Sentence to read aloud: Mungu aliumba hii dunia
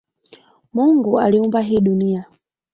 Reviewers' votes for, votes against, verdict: 0, 2, rejected